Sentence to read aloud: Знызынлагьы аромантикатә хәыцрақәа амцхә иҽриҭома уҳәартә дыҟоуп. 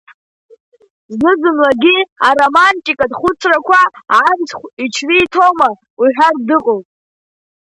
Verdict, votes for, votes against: rejected, 1, 2